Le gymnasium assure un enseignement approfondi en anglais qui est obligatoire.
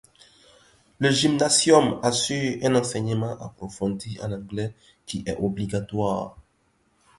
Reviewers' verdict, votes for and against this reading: accepted, 2, 0